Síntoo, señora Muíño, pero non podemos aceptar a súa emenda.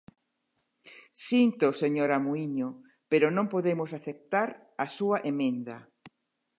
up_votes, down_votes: 2, 0